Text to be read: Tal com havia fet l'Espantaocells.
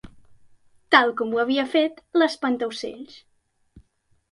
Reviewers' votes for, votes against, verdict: 1, 2, rejected